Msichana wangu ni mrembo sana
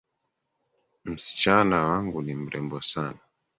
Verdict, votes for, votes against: accepted, 3, 1